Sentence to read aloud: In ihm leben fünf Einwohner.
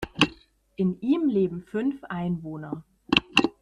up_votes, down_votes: 2, 0